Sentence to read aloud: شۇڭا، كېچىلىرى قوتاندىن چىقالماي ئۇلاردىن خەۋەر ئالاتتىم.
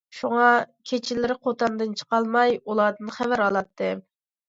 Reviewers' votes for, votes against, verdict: 2, 0, accepted